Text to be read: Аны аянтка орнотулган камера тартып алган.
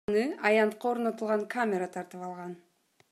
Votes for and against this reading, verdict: 1, 2, rejected